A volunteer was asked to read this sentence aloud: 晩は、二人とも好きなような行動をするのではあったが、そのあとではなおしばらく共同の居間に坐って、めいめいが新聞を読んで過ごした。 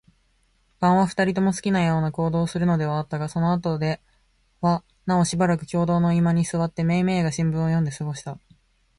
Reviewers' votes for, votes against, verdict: 2, 0, accepted